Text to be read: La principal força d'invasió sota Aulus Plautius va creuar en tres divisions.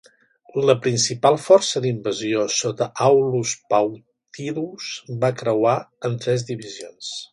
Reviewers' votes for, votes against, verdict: 3, 2, accepted